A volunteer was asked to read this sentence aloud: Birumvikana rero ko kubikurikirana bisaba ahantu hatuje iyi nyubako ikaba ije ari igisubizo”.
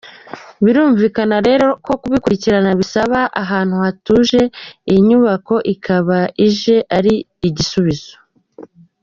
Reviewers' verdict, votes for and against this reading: accepted, 2, 0